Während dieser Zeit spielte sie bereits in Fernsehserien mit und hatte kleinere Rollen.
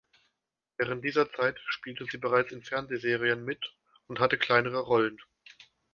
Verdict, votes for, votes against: accepted, 2, 0